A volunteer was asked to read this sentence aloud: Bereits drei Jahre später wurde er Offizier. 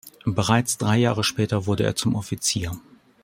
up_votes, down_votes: 1, 2